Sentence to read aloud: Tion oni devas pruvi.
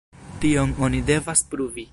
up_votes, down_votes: 2, 0